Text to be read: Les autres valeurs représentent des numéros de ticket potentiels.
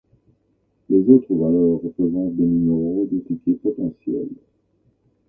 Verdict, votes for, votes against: accepted, 2, 1